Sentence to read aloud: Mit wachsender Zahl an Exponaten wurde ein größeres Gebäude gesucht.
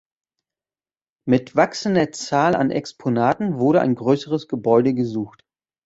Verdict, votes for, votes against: accepted, 2, 0